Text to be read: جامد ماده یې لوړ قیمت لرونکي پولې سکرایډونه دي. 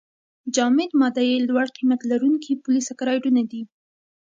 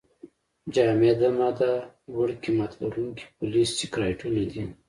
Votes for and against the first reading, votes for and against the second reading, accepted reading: 2, 0, 1, 2, first